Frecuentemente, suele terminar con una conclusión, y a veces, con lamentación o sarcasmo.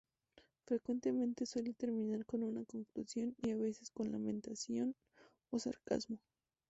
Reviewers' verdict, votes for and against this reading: accepted, 2, 0